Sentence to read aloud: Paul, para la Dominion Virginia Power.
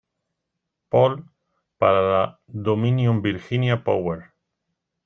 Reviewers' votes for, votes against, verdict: 1, 2, rejected